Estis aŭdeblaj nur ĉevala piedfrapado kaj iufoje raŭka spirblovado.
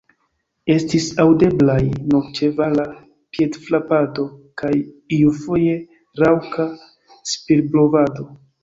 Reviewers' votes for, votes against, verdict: 2, 0, accepted